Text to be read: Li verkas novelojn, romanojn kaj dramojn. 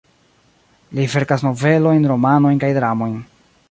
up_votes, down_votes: 2, 0